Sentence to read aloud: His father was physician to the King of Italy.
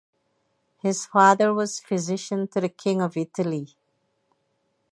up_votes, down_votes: 0, 2